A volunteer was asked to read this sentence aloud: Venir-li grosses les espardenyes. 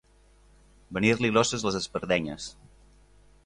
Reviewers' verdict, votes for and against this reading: accepted, 3, 0